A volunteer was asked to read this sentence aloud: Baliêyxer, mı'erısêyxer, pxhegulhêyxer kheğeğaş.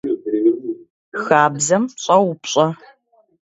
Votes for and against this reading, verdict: 0, 2, rejected